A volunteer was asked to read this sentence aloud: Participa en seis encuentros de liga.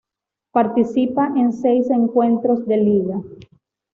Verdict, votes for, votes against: accepted, 2, 0